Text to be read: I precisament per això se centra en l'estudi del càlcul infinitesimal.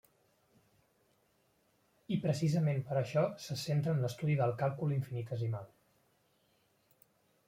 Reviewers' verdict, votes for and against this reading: rejected, 1, 2